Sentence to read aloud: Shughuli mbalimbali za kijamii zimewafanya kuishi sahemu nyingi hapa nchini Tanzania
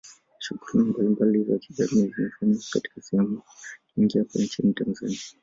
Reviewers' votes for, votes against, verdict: 1, 2, rejected